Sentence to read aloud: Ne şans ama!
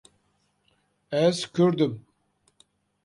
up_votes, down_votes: 0, 2